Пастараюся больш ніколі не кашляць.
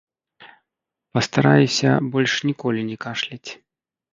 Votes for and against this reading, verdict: 1, 2, rejected